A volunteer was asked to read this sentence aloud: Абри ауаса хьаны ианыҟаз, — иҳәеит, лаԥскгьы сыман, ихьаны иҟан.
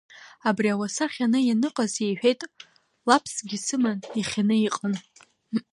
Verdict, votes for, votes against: accepted, 2, 0